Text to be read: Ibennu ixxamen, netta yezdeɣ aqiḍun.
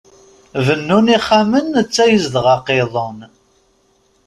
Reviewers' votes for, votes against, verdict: 0, 2, rejected